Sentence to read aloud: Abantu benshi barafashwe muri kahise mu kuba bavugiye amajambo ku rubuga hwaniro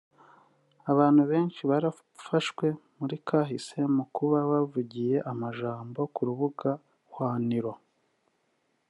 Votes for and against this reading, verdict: 0, 2, rejected